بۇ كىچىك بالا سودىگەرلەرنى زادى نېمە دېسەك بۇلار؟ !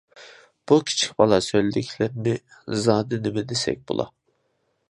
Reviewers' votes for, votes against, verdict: 0, 2, rejected